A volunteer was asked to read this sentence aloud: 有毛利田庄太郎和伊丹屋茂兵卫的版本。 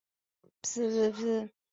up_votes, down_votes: 0, 3